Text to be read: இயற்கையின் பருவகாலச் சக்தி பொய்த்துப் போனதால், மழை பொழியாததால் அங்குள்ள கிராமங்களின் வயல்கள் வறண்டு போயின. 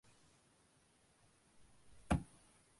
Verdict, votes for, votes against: rejected, 0, 2